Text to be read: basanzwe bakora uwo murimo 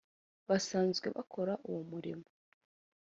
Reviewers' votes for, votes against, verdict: 2, 0, accepted